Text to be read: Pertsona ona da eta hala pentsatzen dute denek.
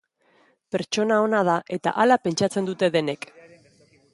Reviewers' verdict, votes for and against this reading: accepted, 2, 0